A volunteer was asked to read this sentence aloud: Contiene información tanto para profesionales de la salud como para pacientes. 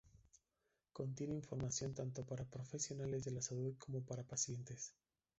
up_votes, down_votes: 0, 2